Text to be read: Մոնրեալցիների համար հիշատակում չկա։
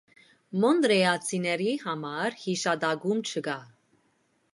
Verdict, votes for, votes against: rejected, 0, 2